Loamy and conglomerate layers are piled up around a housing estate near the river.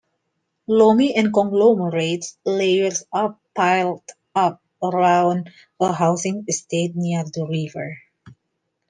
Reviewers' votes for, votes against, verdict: 2, 0, accepted